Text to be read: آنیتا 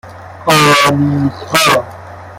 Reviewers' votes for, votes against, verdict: 1, 2, rejected